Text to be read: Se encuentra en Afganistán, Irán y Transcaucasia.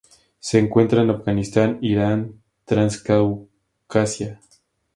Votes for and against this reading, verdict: 0, 2, rejected